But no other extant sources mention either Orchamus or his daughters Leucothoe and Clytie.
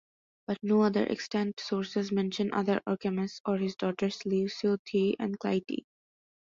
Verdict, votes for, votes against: accepted, 2, 1